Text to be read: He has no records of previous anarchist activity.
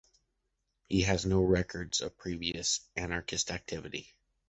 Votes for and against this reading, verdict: 2, 0, accepted